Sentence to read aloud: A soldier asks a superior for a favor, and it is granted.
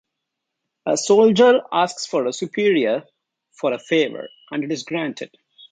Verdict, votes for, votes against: accepted, 2, 0